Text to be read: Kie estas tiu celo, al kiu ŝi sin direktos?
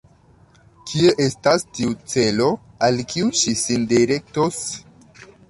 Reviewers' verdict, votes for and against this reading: accepted, 2, 0